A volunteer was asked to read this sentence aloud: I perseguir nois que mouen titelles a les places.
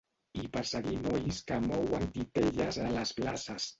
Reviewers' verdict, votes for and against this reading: rejected, 0, 2